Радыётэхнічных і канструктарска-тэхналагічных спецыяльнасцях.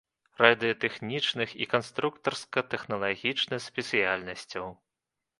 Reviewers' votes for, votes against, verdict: 0, 2, rejected